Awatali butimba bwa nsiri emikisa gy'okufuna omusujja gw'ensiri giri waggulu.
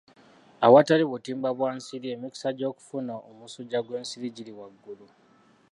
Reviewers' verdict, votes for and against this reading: accepted, 2, 1